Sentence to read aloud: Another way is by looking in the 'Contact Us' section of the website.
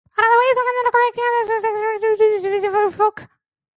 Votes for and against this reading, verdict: 0, 2, rejected